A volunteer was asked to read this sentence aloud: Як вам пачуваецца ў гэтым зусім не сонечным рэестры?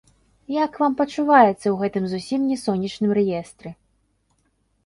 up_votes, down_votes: 1, 2